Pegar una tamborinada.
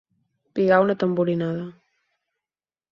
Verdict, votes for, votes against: rejected, 0, 4